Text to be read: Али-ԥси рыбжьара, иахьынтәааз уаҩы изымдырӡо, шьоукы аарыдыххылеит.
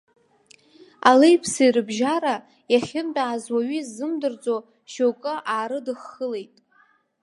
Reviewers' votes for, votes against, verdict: 1, 2, rejected